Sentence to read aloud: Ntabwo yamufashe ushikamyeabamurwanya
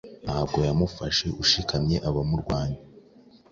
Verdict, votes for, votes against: accepted, 2, 0